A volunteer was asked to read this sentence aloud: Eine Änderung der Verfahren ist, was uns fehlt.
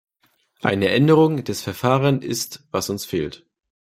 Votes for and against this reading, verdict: 0, 2, rejected